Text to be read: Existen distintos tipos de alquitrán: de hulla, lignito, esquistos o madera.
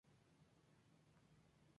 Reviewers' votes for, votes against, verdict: 0, 4, rejected